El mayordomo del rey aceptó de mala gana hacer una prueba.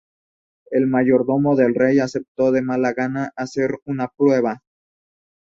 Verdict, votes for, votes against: accepted, 2, 0